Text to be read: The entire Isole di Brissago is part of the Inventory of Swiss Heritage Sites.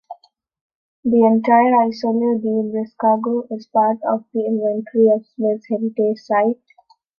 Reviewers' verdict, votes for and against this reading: rejected, 0, 2